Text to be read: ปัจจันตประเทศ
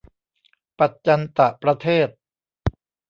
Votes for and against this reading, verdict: 0, 2, rejected